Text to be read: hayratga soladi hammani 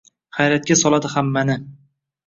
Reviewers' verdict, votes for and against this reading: rejected, 1, 2